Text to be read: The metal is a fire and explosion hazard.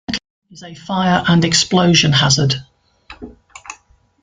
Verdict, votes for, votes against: rejected, 1, 3